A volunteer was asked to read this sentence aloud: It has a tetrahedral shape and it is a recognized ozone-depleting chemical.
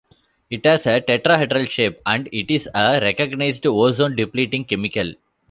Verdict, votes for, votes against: accepted, 2, 1